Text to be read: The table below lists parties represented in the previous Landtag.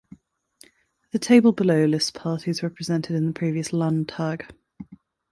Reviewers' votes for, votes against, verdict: 2, 0, accepted